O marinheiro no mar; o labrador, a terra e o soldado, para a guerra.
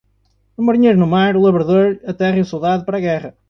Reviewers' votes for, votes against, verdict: 2, 0, accepted